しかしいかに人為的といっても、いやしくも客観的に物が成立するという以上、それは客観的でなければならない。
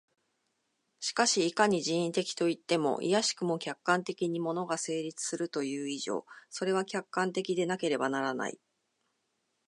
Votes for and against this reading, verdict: 2, 0, accepted